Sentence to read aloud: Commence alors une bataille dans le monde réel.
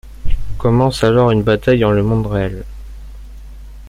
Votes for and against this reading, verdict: 1, 2, rejected